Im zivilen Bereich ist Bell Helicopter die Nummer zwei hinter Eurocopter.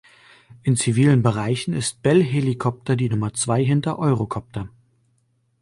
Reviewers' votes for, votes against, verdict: 1, 2, rejected